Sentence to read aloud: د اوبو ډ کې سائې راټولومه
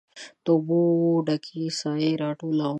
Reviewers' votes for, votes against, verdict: 2, 0, accepted